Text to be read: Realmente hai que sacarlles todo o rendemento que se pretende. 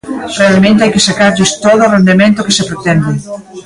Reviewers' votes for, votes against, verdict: 2, 1, accepted